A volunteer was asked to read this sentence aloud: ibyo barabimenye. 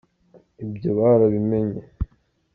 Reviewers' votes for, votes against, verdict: 2, 0, accepted